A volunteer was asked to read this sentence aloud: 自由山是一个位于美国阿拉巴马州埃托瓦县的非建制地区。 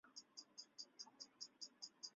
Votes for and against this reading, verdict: 0, 3, rejected